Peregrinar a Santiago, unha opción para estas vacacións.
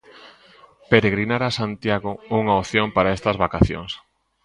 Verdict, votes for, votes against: accepted, 2, 0